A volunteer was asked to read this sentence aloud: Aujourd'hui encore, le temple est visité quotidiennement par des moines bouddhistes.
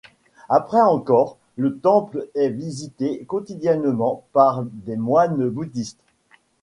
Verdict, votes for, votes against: rejected, 0, 2